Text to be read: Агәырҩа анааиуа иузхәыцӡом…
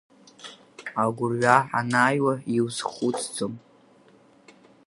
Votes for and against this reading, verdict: 4, 2, accepted